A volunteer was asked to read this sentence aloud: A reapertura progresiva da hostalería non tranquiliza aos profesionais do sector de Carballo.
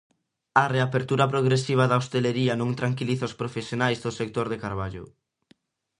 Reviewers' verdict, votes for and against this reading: rejected, 0, 2